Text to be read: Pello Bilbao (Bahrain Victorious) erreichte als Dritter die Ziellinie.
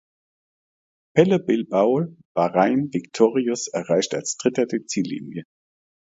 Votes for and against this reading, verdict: 2, 0, accepted